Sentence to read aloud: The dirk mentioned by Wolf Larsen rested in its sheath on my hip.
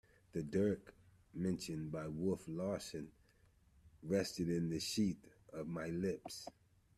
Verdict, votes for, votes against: rejected, 0, 2